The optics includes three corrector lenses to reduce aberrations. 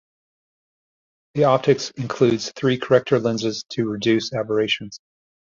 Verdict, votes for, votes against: accepted, 2, 0